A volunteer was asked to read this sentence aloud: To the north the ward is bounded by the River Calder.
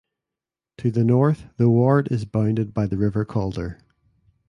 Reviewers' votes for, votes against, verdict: 2, 0, accepted